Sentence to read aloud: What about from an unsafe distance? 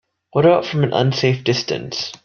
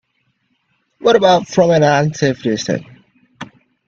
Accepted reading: first